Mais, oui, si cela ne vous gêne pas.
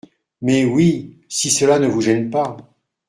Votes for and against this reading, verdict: 2, 0, accepted